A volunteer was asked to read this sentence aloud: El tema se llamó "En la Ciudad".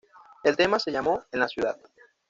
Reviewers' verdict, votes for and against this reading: accepted, 2, 0